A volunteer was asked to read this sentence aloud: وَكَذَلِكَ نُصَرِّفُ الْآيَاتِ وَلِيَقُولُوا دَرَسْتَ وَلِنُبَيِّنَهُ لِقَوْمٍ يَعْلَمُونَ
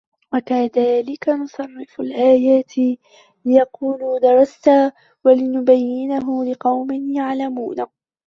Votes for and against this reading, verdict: 0, 2, rejected